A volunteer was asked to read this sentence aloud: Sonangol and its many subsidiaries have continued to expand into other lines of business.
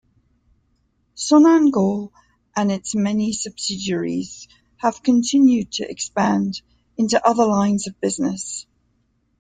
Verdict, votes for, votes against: accepted, 2, 0